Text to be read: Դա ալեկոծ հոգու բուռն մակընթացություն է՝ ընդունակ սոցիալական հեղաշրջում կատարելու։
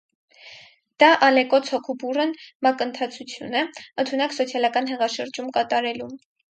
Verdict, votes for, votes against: accepted, 4, 2